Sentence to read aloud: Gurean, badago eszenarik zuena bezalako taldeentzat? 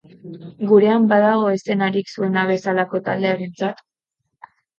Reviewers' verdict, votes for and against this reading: rejected, 2, 2